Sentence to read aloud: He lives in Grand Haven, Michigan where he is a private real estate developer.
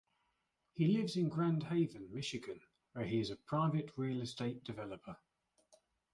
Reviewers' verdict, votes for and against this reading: accepted, 2, 0